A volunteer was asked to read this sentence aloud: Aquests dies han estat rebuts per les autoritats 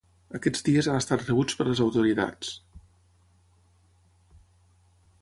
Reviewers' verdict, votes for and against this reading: rejected, 3, 3